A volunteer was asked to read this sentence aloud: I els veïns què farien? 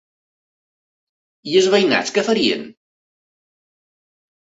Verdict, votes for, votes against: rejected, 0, 2